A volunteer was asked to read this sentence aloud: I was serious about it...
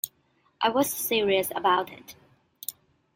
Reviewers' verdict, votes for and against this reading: accepted, 2, 0